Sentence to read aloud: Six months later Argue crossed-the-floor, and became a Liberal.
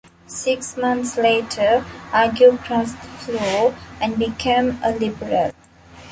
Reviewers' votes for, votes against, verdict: 2, 1, accepted